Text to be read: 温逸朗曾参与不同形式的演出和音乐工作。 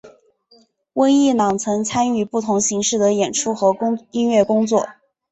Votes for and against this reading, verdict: 3, 2, accepted